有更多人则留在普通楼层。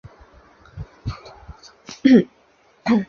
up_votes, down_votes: 0, 4